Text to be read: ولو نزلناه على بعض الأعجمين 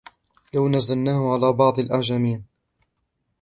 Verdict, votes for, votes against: rejected, 1, 2